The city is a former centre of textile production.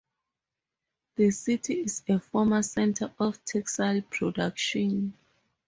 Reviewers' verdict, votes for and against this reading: rejected, 2, 4